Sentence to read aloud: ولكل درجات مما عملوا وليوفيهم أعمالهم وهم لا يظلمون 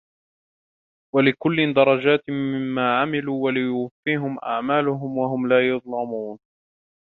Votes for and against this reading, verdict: 2, 3, rejected